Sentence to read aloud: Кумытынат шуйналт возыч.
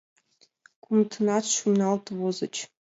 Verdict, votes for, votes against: accepted, 2, 0